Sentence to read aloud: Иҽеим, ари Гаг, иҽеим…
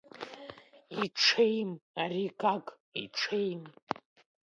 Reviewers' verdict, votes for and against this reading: rejected, 1, 2